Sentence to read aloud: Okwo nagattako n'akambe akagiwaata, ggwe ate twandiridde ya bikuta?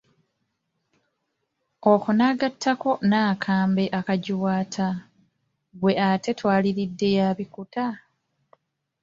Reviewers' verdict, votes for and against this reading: rejected, 1, 2